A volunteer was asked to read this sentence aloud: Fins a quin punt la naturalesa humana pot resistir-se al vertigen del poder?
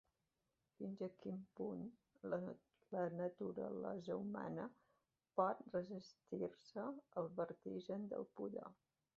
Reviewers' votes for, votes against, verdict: 1, 2, rejected